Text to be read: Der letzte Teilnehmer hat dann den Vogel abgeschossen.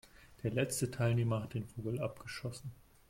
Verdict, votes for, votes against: accepted, 2, 1